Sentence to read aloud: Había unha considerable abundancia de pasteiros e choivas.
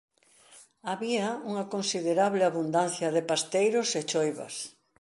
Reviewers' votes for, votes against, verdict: 1, 2, rejected